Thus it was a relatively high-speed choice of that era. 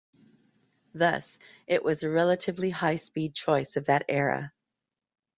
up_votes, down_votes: 1, 2